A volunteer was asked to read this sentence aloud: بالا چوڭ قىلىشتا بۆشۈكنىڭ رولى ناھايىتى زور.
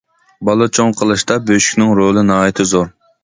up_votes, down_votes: 2, 0